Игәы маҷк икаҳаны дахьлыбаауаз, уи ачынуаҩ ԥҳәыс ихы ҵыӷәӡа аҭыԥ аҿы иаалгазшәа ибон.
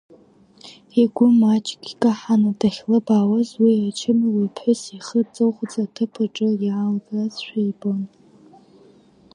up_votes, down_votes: 1, 2